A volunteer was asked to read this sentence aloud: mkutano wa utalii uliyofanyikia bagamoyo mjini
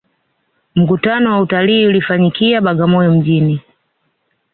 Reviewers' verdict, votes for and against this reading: rejected, 0, 2